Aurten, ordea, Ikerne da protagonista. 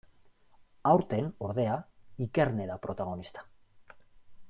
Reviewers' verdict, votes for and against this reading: rejected, 1, 2